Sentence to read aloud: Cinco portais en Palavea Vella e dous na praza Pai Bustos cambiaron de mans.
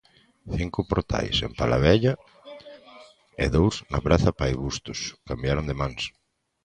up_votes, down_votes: 0, 2